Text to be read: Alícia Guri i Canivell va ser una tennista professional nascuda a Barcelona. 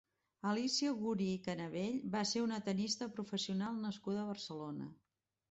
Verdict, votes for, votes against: rejected, 1, 2